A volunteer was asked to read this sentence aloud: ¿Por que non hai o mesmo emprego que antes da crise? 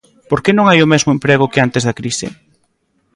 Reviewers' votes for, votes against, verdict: 2, 0, accepted